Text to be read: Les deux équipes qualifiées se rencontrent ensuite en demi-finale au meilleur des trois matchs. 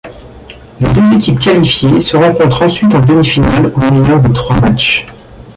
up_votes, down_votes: 1, 2